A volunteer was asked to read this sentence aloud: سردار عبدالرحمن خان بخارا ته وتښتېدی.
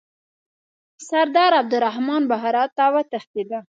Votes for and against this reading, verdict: 1, 2, rejected